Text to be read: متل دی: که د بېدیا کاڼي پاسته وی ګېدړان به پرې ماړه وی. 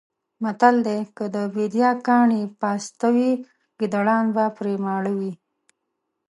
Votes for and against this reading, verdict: 1, 2, rejected